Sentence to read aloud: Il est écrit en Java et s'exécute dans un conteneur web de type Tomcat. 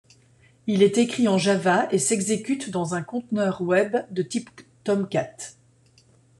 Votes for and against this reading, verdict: 2, 1, accepted